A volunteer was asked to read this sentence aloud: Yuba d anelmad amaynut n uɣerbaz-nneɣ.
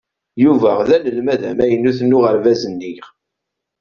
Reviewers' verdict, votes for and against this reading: rejected, 1, 2